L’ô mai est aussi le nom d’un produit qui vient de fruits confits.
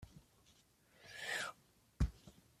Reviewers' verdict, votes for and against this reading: rejected, 0, 2